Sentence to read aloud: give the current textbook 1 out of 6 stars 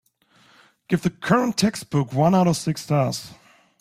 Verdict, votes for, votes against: rejected, 0, 2